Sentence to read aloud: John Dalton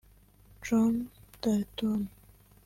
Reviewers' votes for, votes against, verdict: 1, 3, rejected